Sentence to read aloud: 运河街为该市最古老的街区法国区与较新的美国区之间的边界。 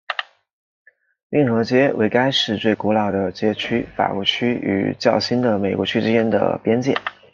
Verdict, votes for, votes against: accepted, 2, 0